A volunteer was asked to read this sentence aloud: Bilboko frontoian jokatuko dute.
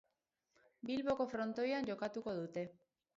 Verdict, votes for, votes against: rejected, 2, 2